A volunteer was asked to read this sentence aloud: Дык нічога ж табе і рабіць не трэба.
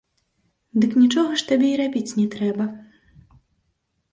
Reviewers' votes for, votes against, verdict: 0, 2, rejected